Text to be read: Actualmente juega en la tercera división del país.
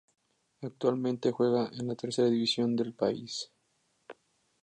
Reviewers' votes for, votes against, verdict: 2, 0, accepted